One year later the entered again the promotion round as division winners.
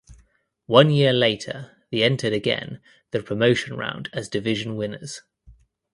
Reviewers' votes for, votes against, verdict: 1, 2, rejected